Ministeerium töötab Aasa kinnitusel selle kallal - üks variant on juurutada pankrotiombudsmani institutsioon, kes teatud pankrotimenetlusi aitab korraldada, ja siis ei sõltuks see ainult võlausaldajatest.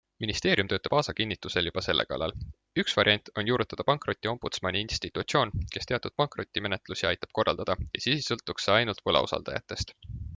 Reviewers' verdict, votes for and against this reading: rejected, 0, 2